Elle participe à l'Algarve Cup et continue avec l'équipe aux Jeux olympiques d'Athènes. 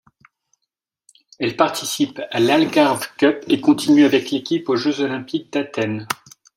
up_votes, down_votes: 2, 0